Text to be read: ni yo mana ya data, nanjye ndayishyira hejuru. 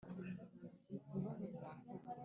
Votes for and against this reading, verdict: 1, 2, rejected